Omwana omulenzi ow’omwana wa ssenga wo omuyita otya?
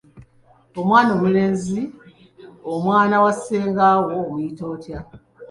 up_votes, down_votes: 2, 1